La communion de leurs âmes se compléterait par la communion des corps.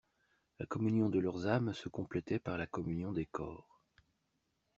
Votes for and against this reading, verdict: 1, 2, rejected